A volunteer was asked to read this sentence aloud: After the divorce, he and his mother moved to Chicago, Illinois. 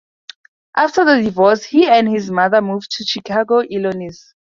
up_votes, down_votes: 0, 2